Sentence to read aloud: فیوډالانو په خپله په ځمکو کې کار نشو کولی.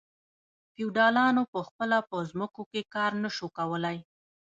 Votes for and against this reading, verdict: 1, 2, rejected